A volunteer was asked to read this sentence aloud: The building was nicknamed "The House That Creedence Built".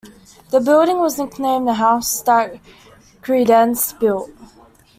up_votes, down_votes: 2, 1